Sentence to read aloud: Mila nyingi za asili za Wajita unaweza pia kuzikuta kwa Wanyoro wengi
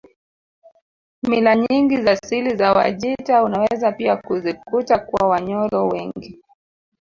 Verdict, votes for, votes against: rejected, 1, 2